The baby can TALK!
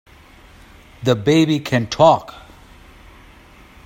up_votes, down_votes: 2, 0